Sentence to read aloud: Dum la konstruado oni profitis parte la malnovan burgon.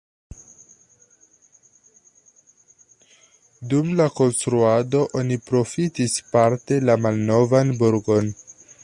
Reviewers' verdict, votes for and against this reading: accepted, 2, 0